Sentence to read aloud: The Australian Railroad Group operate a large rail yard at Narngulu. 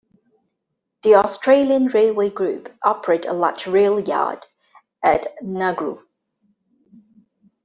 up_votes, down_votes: 2, 1